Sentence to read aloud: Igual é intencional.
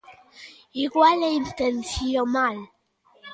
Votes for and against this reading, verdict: 0, 2, rejected